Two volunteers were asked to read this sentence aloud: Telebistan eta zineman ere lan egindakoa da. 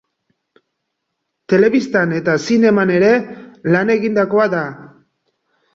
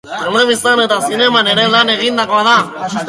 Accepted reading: first